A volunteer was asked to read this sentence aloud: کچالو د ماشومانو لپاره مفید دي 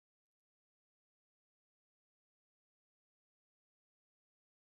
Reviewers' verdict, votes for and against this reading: rejected, 1, 2